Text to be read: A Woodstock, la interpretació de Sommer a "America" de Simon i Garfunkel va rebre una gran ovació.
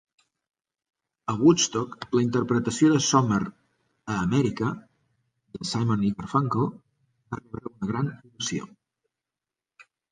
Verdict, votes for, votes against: rejected, 1, 2